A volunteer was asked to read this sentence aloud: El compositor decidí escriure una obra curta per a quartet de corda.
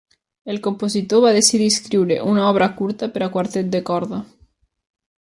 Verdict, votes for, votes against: rejected, 0, 2